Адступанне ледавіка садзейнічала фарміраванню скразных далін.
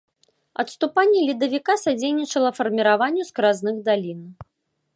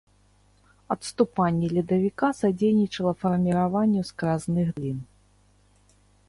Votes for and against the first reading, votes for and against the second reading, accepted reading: 2, 0, 0, 2, first